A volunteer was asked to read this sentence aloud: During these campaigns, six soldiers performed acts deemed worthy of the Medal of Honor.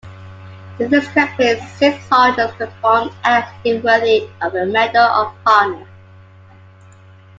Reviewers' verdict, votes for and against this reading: rejected, 1, 2